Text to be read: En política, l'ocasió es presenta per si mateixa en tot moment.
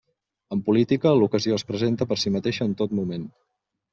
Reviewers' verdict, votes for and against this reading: accepted, 3, 0